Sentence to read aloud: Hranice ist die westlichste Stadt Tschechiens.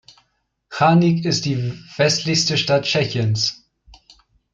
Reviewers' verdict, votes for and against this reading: rejected, 1, 2